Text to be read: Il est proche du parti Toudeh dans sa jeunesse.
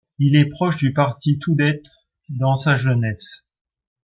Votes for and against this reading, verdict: 1, 2, rejected